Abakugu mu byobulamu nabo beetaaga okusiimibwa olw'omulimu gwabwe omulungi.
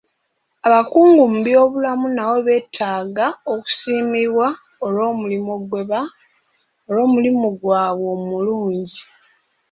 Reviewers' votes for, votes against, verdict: 0, 3, rejected